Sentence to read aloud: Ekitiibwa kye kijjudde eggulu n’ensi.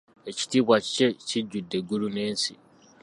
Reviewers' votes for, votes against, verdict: 1, 2, rejected